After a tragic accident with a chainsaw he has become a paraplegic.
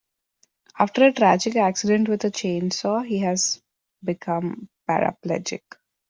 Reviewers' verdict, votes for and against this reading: rejected, 0, 2